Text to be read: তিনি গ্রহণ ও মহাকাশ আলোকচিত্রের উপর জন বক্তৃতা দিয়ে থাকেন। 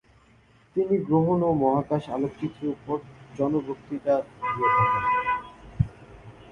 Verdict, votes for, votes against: rejected, 1, 2